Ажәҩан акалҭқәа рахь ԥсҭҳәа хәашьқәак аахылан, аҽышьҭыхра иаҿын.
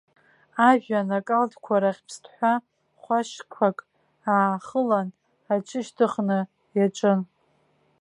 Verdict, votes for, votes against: rejected, 0, 3